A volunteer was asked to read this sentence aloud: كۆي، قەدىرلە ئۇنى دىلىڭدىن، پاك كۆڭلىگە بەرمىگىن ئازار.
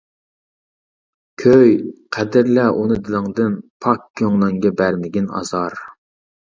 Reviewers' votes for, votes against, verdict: 1, 2, rejected